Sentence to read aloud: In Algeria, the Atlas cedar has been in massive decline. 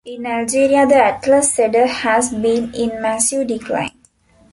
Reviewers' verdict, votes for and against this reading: rejected, 1, 2